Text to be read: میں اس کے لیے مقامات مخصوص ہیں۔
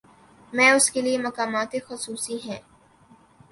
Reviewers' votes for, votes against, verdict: 0, 2, rejected